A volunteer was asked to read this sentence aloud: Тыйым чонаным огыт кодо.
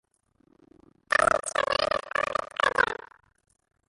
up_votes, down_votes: 0, 2